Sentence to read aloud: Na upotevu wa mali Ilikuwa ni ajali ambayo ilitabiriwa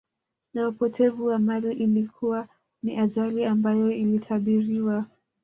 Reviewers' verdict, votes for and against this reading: rejected, 1, 2